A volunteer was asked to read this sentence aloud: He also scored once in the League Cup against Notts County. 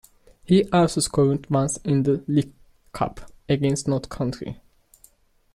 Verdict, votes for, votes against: accepted, 2, 0